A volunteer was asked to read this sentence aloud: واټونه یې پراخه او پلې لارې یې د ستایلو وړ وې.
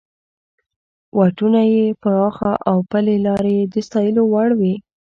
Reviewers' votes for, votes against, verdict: 2, 0, accepted